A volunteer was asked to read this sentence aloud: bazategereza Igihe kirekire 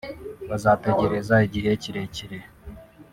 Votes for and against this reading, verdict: 0, 2, rejected